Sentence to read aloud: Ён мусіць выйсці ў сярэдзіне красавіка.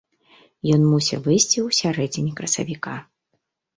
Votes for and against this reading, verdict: 0, 2, rejected